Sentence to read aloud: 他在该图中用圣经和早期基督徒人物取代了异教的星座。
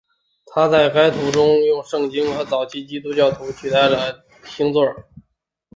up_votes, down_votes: 0, 4